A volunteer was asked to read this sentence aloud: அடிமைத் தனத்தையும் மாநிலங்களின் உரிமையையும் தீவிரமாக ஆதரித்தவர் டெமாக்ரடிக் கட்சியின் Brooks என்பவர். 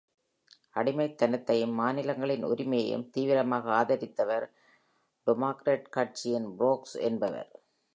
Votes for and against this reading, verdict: 0, 2, rejected